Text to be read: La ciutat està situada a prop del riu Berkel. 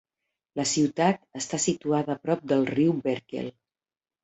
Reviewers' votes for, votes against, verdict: 2, 0, accepted